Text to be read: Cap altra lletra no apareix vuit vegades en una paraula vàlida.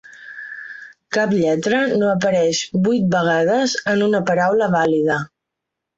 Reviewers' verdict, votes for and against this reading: rejected, 1, 2